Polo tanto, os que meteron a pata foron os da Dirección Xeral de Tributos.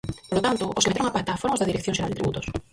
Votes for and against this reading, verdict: 0, 4, rejected